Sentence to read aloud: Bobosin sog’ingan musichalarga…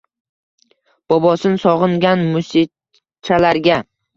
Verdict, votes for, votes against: rejected, 1, 2